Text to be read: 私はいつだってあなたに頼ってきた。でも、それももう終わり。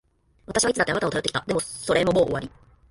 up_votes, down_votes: 2, 3